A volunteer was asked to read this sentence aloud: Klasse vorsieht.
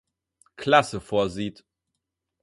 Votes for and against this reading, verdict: 4, 0, accepted